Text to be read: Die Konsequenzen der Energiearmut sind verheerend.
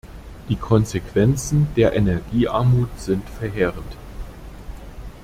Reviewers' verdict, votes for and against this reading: accepted, 2, 0